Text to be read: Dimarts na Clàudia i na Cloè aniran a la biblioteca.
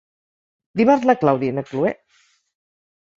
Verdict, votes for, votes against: rejected, 0, 4